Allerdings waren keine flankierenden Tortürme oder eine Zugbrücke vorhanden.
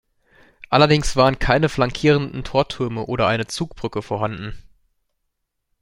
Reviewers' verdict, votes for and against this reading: accepted, 2, 0